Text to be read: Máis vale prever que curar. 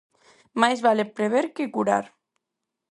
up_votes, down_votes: 4, 0